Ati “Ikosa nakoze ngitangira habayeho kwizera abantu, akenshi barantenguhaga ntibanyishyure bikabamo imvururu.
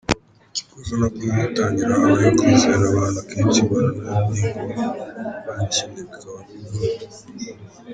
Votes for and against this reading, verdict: 0, 2, rejected